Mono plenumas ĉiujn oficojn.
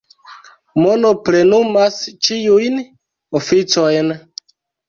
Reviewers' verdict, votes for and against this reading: accepted, 2, 1